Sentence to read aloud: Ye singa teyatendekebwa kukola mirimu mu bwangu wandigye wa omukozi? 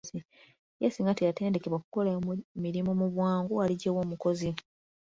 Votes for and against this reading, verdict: 1, 2, rejected